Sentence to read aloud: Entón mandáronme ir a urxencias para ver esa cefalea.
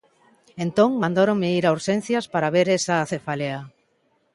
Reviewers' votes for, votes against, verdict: 2, 0, accepted